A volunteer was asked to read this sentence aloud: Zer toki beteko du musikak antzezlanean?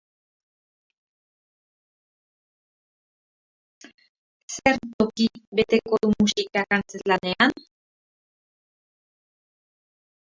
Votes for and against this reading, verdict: 1, 4, rejected